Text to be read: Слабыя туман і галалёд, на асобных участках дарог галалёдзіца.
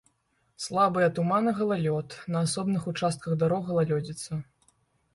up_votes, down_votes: 2, 0